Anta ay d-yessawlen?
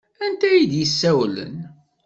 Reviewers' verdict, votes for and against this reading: accepted, 2, 0